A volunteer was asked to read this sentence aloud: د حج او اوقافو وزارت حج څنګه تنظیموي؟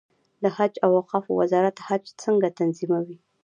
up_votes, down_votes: 2, 0